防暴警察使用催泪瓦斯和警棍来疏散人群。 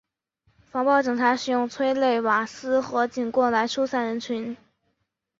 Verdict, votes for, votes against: accepted, 3, 0